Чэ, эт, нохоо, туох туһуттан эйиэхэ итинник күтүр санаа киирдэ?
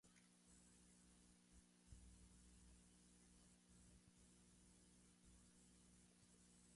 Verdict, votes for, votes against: rejected, 0, 2